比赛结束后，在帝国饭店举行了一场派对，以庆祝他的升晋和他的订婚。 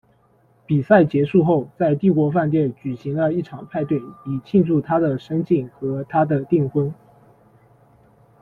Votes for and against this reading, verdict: 2, 0, accepted